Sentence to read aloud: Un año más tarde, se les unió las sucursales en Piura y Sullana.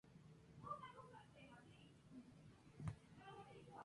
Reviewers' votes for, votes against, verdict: 0, 2, rejected